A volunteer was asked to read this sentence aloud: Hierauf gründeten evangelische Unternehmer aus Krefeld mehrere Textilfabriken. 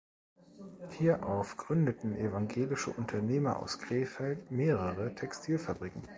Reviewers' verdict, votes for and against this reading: accepted, 2, 0